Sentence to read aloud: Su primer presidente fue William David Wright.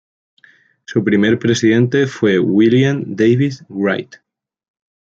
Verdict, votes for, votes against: accepted, 2, 0